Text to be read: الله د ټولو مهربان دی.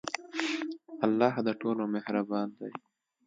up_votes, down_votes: 2, 0